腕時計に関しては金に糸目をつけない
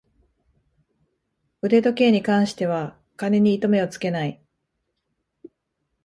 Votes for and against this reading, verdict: 2, 0, accepted